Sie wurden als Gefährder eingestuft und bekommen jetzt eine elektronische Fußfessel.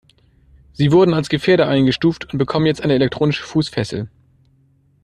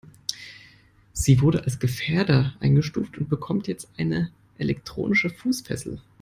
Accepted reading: first